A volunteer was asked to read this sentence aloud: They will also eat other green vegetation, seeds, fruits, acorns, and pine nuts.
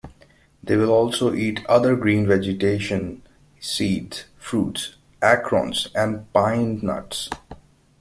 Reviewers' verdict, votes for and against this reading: rejected, 1, 2